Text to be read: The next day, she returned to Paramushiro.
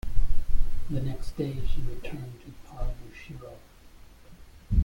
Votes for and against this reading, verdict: 0, 2, rejected